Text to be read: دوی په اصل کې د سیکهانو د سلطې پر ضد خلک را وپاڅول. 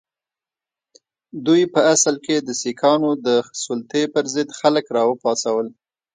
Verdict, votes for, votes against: accepted, 2, 0